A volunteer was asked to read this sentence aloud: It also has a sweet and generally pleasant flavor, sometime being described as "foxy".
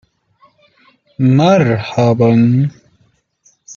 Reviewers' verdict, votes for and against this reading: rejected, 0, 2